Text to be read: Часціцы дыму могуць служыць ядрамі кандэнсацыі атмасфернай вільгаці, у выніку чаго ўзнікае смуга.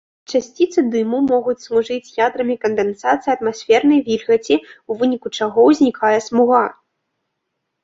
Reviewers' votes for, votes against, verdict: 6, 0, accepted